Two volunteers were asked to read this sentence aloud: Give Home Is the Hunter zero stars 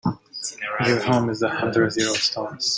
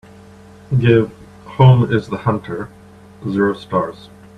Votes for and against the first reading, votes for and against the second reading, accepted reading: 1, 2, 2, 0, second